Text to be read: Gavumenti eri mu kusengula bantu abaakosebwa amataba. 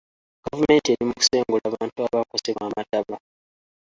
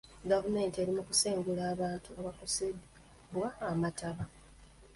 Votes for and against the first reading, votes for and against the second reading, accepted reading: 2, 1, 1, 2, first